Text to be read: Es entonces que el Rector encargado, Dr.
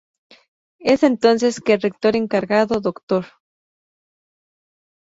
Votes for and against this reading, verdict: 2, 0, accepted